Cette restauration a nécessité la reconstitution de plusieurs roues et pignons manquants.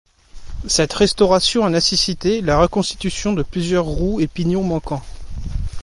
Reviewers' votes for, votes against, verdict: 2, 0, accepted